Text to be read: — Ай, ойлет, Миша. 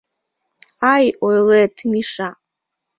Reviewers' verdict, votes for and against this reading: accepted, 2, 0